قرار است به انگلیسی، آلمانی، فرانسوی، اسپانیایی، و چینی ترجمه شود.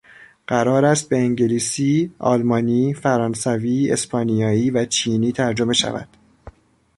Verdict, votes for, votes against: accepted, 2, 0